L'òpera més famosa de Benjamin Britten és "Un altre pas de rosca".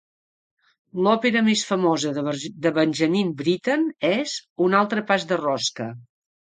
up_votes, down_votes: 1, 2